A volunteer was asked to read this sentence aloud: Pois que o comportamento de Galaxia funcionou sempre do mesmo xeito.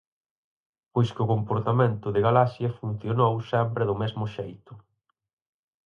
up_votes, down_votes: 4, 0